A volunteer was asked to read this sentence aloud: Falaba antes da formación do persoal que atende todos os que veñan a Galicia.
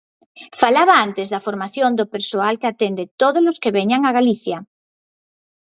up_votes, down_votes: 4, 2